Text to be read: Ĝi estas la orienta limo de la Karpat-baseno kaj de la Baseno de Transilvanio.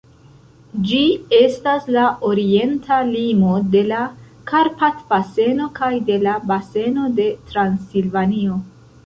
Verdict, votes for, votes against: rejected, 0, 2